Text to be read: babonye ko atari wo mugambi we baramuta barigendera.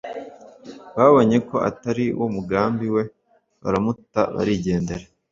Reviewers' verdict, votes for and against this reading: accepted, 2, 0